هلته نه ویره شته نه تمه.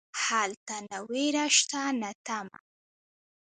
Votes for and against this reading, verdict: 3, 0, accepted